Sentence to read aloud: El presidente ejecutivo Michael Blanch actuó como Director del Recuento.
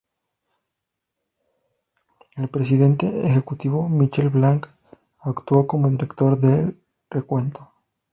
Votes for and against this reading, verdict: 2, 0, accepted